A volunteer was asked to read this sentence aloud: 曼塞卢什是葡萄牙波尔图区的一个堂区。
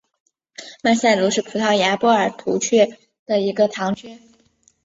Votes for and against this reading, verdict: 2, 1, accepted